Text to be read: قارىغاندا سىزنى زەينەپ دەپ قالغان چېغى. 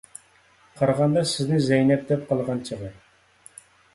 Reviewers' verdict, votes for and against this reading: accepted, 2, 0